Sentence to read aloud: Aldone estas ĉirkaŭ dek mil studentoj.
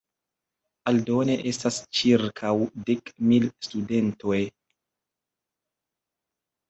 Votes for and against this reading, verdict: 2, 0, accepted